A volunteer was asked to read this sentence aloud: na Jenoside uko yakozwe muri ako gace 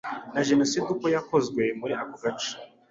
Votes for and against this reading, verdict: 2, 0, accepted